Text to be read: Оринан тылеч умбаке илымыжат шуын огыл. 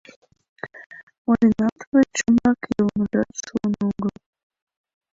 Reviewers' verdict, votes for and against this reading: rejected, 1, 2